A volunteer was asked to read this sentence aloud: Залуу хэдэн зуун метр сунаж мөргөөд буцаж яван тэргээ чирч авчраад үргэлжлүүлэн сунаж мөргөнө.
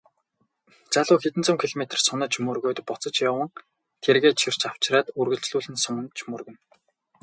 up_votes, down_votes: 2, 2